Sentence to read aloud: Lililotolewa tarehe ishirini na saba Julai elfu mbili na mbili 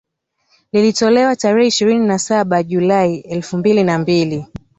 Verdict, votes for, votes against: accepted, 2, 0